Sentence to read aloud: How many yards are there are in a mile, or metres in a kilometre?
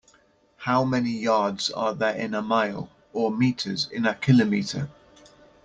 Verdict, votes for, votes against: accepted, 2, 0